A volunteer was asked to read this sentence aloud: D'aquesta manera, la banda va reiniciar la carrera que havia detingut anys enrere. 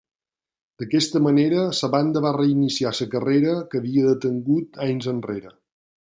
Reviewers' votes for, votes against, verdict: 0, 2, rejected